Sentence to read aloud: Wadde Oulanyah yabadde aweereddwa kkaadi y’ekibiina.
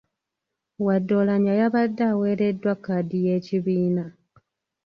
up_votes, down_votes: 2, 1